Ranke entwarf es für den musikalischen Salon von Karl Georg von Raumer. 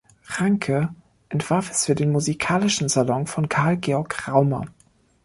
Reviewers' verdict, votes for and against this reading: rejected, 0, 2